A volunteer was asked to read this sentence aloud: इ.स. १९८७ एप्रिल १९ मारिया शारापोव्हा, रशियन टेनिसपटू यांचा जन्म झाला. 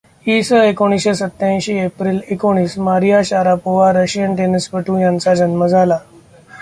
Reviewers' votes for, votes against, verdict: 0, 2, rejected